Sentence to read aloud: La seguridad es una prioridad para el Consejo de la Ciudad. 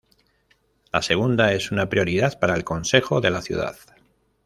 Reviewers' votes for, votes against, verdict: 1, 2, rejected